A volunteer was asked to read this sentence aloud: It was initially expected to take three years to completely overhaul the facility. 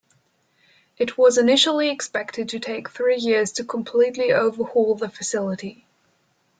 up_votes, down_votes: 2, 0